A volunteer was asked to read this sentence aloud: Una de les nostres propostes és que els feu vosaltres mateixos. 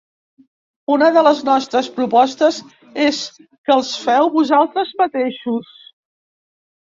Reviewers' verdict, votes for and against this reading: accepted, 3, 1